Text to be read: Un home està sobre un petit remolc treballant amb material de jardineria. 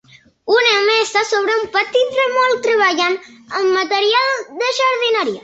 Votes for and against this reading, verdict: 2, 0, accepted